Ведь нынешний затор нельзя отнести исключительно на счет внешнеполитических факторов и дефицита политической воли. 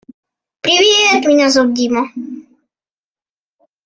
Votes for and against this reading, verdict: 0, 2, rejected